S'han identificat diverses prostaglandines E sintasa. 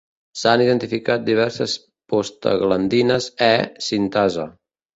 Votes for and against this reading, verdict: 0, 2, rejected